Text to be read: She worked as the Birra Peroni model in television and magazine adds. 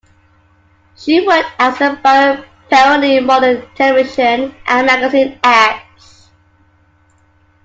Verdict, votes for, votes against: rejected, 1, 2